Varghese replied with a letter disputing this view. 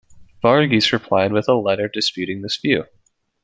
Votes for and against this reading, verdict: 2, 1, accepted